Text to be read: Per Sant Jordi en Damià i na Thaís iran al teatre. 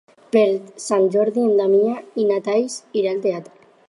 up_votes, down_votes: 0, 4